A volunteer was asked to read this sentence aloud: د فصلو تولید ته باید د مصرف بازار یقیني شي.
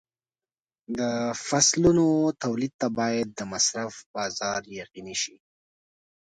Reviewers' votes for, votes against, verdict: 1, 2, rejected